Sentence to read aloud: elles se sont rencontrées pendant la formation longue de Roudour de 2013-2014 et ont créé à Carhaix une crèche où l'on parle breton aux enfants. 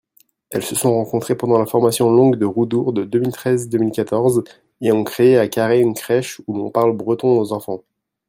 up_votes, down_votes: 0, 2